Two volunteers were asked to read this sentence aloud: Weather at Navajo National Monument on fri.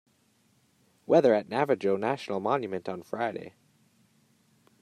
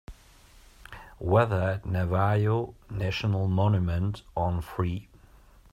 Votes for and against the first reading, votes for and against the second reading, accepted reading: 2, 0, 1, 2, first